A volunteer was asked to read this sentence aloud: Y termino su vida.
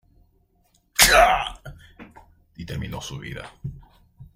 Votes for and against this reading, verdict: 1, 2, rejected